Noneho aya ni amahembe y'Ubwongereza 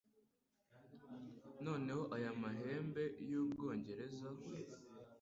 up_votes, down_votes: 1, 2